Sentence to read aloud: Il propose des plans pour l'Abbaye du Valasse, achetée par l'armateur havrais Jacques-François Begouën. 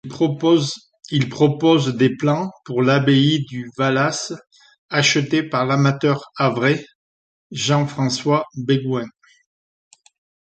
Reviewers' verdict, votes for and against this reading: rejected, 0, 2